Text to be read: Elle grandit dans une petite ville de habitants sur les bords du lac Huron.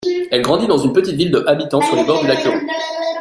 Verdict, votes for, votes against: accepted, 2, 1